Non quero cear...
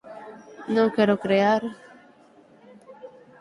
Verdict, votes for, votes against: rejected, 0, 6